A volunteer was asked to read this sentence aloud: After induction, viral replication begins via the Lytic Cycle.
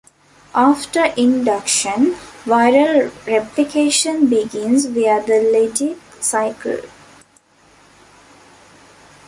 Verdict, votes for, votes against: rejected, 0, 2